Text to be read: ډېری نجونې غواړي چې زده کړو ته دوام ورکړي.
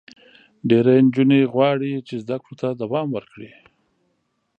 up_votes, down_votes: 3, 0